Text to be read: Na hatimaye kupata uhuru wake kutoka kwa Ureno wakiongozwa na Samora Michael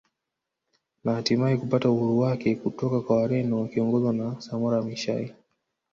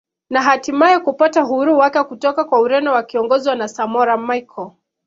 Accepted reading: second